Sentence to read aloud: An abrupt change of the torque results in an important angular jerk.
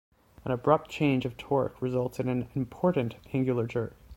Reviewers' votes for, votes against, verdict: 2, 0, accepted